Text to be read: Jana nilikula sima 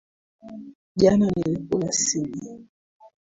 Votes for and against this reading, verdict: 1, 2, rejected